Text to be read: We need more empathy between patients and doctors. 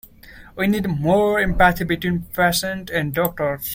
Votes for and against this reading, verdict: 0, 2, rejected